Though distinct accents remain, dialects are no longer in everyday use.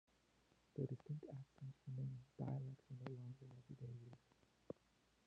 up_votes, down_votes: 0, 2